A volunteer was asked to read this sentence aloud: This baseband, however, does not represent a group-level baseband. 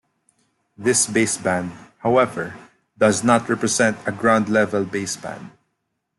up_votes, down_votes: 0, 2